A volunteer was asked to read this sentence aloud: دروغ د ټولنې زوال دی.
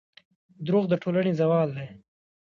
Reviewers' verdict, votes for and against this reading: accepted, 2, 0